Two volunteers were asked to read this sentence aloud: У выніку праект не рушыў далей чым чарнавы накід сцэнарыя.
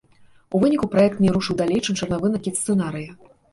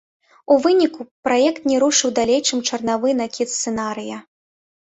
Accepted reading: second